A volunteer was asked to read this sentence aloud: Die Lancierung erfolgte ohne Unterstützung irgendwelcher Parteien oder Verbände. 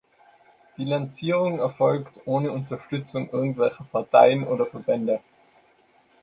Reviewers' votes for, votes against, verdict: 1, 2, rejected